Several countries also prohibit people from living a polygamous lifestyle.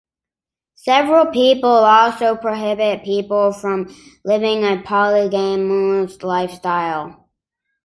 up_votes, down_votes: 0, 2